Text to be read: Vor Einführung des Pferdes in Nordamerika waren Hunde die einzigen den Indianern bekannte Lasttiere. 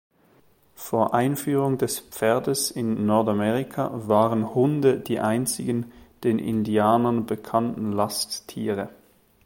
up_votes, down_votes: 2, 0